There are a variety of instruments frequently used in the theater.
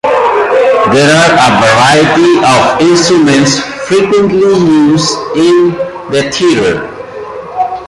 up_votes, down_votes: 0, 2